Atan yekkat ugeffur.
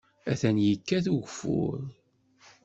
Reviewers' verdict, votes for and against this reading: accepted, 2, 0